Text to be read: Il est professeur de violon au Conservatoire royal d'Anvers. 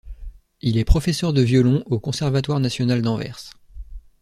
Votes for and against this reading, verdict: 1, 2, rejected